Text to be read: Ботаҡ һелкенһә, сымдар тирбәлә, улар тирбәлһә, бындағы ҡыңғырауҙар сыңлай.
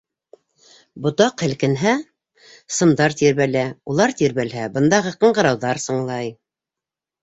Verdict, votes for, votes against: accepted, 2, 0